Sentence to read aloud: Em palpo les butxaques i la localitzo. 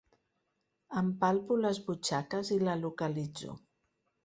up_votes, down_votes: 3, 0